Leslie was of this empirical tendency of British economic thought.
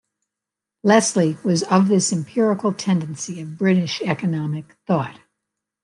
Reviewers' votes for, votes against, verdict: 2, 1, accepted